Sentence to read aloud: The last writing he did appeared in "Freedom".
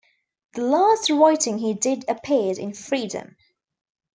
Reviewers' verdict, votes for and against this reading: accepted, 2, 0